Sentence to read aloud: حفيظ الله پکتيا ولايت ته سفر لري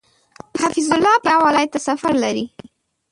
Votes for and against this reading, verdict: 0, 2, rejected